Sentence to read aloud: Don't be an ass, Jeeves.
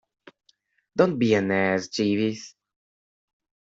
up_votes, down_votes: 1, 2